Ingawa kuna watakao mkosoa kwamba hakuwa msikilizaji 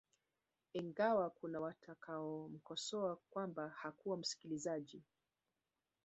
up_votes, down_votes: 1, 2